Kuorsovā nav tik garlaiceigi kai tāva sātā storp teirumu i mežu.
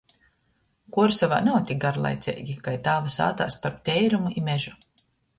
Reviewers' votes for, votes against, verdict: 2, 0, accepted